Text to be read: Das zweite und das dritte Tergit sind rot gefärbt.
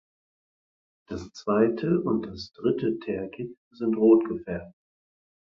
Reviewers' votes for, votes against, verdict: 4, 0, accepted